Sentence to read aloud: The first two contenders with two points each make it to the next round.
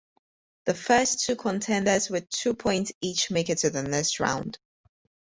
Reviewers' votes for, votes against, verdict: 4, 0, accepted